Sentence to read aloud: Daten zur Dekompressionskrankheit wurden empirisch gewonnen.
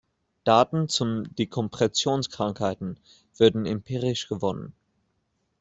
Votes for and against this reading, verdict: 0, 2, rejected